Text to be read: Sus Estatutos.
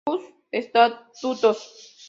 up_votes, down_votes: 2, 0